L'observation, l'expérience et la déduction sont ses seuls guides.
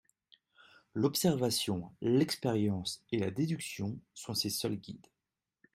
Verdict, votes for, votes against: accepted, 2, 0